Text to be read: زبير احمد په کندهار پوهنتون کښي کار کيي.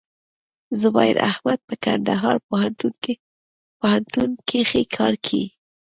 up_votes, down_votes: 0, 2